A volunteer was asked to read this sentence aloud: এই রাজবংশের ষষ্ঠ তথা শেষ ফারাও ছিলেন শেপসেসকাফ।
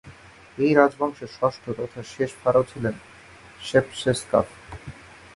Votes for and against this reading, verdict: 3, 0, accepted